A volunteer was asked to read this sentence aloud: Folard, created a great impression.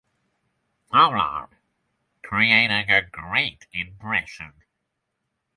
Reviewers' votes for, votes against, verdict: 3, 3, rejected